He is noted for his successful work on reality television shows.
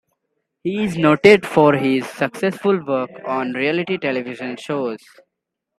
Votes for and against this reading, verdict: 1, 2, rejected